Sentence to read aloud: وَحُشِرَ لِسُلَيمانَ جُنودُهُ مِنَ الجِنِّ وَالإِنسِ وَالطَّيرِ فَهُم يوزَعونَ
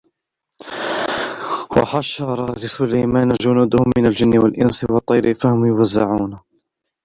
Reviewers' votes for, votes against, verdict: 1, 2, rejected